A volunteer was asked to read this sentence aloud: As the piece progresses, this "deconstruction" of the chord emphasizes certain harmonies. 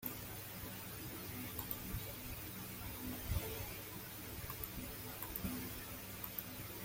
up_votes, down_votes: 0, 2